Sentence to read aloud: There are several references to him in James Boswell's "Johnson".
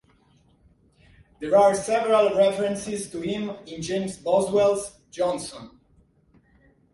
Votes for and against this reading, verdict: 2, 0, accepted